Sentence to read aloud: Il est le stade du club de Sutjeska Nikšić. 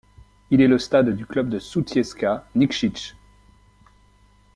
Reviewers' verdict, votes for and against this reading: accepted, 2, 0